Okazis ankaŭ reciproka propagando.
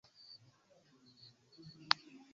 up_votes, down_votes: 0, 2